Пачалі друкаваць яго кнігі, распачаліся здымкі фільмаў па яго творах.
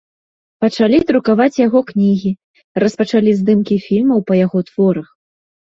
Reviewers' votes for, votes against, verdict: 0, 2, rejected